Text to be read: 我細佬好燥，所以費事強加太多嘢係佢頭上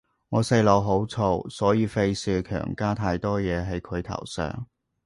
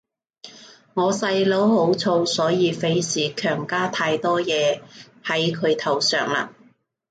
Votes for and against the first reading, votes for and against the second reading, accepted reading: 2, 0, 0, 2, first